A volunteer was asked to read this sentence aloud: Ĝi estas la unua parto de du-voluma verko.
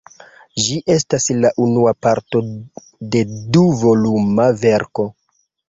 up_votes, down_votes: 2, 0